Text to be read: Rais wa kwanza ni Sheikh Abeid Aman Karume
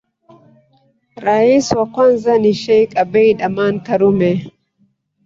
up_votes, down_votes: 0, 2